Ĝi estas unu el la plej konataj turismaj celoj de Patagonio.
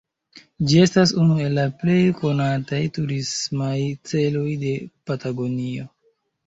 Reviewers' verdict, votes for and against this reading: rejected, 0, 2